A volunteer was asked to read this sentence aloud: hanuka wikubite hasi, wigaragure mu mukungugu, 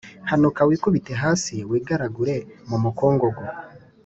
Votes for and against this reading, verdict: 2, 0, accepted